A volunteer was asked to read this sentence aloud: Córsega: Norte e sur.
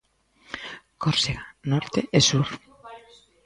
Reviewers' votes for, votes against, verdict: 1, 2, rejected